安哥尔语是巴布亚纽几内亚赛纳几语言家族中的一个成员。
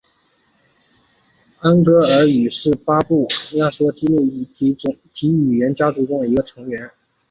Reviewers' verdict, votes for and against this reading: rejected, 1, 3